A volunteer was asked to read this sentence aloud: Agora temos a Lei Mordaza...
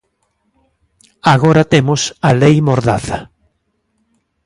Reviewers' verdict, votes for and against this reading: accepted, 2, 0